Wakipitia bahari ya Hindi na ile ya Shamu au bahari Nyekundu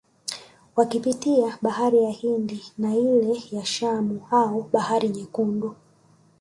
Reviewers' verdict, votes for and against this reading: rejected, 0, 2